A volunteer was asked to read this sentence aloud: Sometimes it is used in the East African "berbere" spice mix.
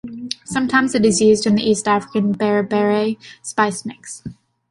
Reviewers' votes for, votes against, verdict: 2, 0, accepted